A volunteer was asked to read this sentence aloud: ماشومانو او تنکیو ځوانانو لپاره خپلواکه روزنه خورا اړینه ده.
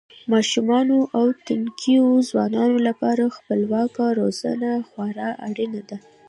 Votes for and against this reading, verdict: 0, 2, rejected